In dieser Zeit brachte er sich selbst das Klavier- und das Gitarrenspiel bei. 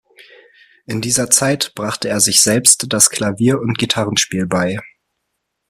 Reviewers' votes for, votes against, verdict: 0, 2, rejected